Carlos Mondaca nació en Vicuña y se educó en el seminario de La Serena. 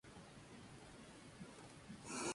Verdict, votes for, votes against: rejected, 0, 2